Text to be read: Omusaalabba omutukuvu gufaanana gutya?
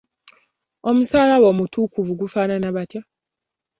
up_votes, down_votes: 1, 2